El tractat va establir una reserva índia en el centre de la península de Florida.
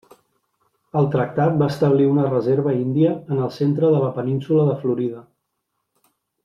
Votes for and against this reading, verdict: 2, 0, accepted